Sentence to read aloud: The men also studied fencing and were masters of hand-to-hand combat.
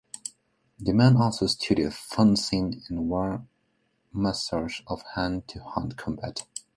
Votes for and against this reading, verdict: 1, 3, rejected